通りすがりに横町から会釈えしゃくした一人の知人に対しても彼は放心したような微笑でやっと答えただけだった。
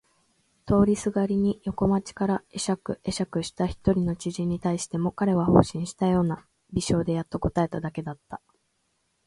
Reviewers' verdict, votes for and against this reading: accepted, 2, 0